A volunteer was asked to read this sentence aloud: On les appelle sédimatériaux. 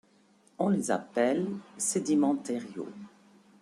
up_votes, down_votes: 0, 2